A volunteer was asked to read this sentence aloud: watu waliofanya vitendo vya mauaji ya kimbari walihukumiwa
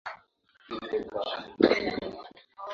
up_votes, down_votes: 1, 6